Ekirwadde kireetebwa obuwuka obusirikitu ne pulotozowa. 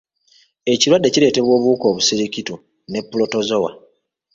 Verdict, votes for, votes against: accepted, 2, 1